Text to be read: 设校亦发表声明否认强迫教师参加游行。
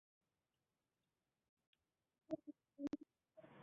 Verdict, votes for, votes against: rejected, 0, 6